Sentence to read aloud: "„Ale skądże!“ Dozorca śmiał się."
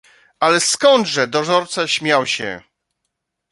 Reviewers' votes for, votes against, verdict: 2, 0, accepted